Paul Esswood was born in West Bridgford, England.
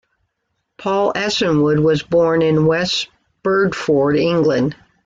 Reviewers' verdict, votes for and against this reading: rejected, 0, 2